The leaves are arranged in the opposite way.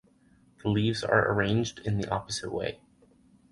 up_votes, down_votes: 4, 0